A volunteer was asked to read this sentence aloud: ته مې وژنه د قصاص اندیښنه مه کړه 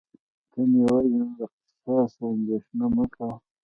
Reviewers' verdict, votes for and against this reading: rejected, 0, 2